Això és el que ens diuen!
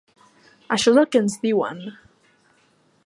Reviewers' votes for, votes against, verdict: 4, 0, accepted